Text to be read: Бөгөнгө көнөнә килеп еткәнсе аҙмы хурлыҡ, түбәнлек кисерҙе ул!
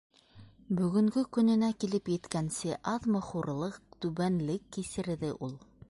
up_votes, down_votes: 2, 0